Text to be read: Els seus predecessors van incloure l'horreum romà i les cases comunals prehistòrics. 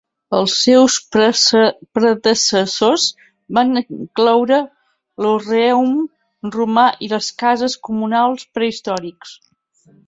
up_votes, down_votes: 0, 2